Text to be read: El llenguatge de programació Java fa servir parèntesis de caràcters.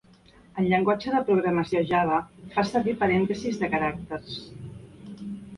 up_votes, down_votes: 2, 0